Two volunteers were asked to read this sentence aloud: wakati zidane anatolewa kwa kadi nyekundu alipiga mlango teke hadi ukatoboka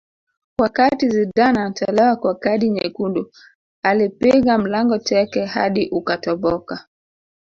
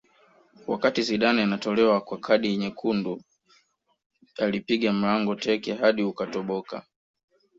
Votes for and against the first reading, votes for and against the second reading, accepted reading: 2, 3, 2, 0, second